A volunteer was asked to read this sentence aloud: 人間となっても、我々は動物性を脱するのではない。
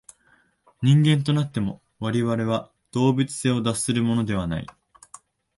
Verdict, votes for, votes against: rejected, 1, 2